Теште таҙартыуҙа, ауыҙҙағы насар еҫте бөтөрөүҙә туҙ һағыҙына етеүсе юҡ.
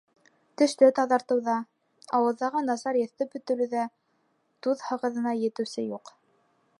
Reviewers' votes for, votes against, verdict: 2, 0, accepted